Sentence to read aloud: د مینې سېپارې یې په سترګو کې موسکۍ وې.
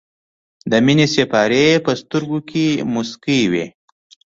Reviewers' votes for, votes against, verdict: 2, 0, accepted